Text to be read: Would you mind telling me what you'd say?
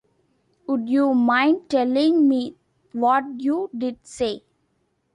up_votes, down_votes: 2, 1